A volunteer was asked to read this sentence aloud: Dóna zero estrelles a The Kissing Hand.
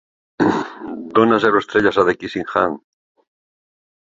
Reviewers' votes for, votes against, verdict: 2, 3, rejected